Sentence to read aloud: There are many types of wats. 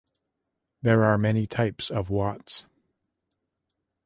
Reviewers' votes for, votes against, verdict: 2, 0, accepted